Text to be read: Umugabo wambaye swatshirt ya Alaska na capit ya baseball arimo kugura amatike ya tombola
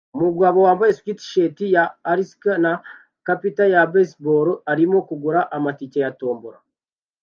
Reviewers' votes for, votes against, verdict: 2, 0, accepted